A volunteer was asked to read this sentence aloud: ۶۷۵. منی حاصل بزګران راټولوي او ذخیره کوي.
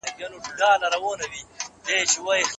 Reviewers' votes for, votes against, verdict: 0, 2, rejected